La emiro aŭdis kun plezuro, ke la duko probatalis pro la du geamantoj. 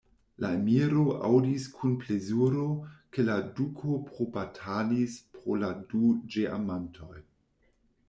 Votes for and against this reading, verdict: 0, 2, rejected